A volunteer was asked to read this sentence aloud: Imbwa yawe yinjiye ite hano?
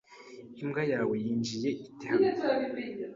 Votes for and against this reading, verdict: 2, 0, accepted